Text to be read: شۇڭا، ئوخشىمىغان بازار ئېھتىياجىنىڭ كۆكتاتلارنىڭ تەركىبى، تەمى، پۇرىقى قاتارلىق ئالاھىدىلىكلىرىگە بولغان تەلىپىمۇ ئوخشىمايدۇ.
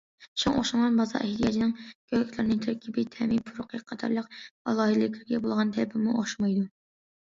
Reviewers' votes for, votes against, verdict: 0, 2, rejected